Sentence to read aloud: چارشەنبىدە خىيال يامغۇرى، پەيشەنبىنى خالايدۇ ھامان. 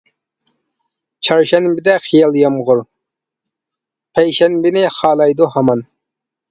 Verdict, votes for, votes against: accepted, 2, 0